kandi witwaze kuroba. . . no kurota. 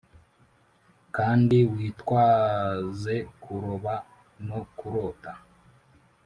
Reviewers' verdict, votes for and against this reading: accepted, 3, 0